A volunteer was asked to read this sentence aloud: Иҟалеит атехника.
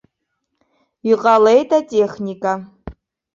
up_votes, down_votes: 3, 2